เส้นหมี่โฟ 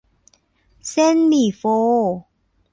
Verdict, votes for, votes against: accepted, 2, 0